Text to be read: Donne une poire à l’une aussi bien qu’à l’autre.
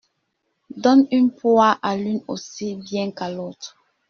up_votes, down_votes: 1, 2